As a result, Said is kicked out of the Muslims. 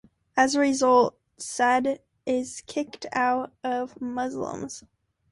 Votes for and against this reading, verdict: 0, 2, rejected